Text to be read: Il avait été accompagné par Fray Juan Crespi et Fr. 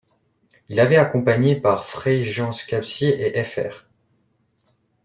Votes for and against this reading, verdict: 0, 2, rejected